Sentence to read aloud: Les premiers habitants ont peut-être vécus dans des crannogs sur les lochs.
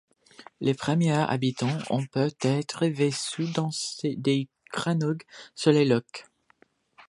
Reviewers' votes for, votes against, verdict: 0, 2, rejected